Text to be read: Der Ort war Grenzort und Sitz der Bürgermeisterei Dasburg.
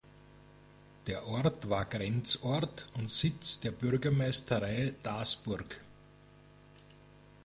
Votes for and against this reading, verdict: 1, 2, rejected